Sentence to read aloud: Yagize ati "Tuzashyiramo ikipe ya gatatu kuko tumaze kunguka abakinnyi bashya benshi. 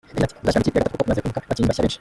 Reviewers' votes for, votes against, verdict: 0, 2, rejected